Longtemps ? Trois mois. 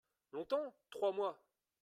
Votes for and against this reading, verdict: 3, 1, accepted